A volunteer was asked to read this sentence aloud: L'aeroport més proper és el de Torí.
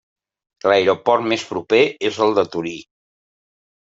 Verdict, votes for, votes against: accepted, 2, 0